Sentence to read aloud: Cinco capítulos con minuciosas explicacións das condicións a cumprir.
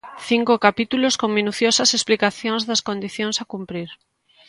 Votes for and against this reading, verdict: 2, 0, accepted